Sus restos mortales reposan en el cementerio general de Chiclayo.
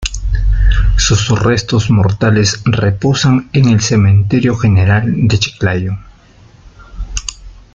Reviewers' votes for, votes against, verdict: 1, 2, rejected